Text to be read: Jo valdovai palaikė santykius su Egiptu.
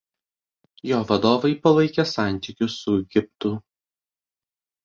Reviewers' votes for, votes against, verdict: 2, 1, accepted